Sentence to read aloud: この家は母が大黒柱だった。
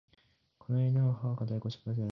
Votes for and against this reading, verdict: 0, 2, rejected